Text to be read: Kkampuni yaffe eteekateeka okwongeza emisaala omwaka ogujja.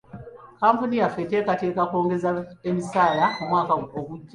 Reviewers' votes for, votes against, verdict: 1, 2, rejected